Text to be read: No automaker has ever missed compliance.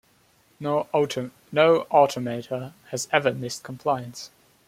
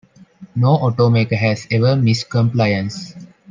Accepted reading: second